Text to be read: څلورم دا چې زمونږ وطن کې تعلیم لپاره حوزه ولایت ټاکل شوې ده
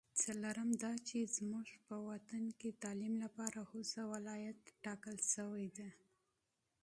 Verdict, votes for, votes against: accepted, 2, 1